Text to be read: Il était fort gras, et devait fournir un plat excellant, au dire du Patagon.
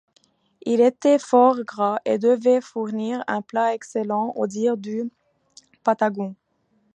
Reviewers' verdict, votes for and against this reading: accepted, 2, 0